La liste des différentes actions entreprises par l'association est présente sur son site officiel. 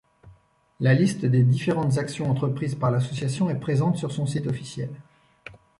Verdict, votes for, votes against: accepted, 2, 0